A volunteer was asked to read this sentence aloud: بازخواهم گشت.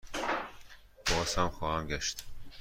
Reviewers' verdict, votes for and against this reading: rejected, 1, 2